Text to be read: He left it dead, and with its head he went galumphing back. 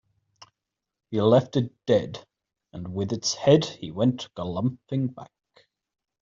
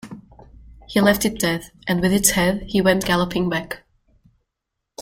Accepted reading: first